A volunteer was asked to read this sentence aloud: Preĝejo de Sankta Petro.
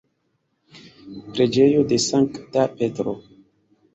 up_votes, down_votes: 2, 1